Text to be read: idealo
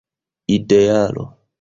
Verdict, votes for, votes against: accepted, 2, 0